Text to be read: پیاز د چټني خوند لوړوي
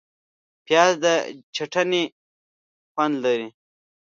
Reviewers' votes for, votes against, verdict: 1, 2, rejected